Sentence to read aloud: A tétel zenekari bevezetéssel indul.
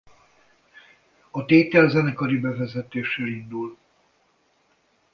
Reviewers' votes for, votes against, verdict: 2, 0, accepted